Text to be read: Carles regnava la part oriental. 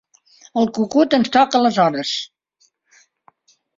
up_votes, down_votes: 0, 2